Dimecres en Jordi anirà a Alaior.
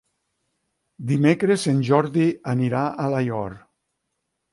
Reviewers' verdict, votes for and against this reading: rejected, 3, 6